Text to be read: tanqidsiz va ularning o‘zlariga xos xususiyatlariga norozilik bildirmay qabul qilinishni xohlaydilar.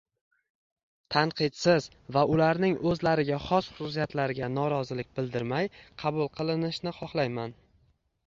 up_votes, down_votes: 1, 2